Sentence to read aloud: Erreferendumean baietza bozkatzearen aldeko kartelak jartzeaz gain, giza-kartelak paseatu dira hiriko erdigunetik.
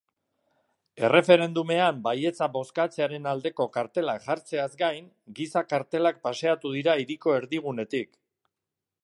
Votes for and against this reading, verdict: 3, 0, accepted